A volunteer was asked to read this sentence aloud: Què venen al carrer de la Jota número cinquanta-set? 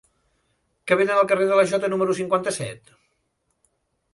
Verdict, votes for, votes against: rejected, 0, 2